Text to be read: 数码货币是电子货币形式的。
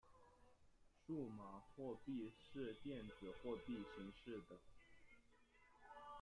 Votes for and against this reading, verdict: 0, 2, rejected